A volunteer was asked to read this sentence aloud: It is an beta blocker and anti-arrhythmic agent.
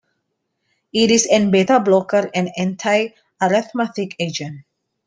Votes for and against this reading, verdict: 2, 0, accepted